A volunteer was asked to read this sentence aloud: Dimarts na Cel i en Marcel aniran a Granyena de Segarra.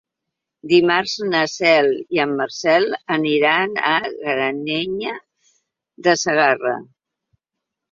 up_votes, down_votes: 0, 2